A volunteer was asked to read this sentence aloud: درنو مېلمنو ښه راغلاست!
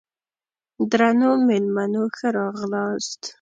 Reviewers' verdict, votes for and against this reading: accepted, 2, 0